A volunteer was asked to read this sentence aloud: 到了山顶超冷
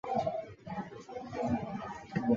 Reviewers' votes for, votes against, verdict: 1, 3, rejected